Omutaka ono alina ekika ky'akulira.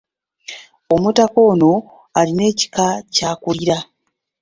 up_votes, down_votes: 2, 0